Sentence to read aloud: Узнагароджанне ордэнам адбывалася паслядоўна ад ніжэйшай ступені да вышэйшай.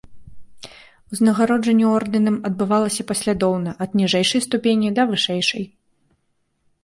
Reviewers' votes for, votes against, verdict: 2, 0, accepted